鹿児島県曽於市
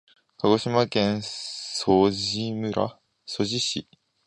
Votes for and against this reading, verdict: 0, 2, rejected